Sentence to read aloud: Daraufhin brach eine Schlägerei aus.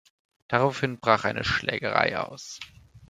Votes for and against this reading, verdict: 2, 0, accepted